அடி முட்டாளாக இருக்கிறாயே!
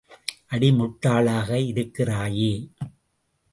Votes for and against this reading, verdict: 2, 0, accepted